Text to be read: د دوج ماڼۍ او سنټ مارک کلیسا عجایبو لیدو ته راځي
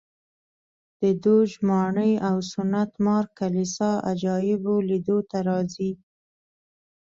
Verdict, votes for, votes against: accepted, 2, 0